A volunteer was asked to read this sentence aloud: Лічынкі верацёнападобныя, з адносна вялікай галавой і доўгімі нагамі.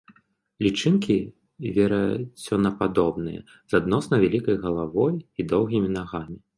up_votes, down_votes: 0, 2